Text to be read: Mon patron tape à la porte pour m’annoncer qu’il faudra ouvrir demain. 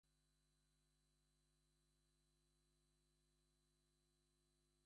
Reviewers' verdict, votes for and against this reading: rejected, 0, 2